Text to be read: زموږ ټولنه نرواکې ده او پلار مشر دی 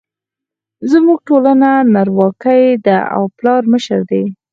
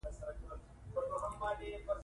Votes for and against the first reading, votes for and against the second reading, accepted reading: 2, 4, 2, 0, second